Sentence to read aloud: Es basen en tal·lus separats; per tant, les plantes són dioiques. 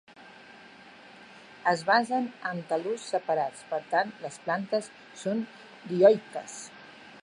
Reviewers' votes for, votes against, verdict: 1, 4, rejected